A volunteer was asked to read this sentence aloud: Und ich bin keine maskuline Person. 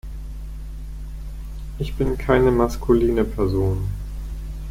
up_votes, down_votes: 2, 4